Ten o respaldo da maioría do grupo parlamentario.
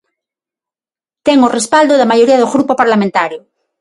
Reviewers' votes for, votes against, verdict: 6, 0, accepted